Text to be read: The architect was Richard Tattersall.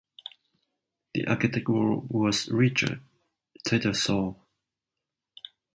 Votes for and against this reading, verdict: 0, 2, rejected